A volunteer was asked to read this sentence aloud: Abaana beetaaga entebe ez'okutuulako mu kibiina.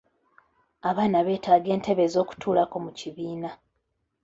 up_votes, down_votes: 2, 0